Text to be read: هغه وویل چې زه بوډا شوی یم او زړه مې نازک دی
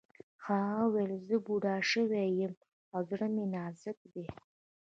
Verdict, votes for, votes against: accepted, 2, 0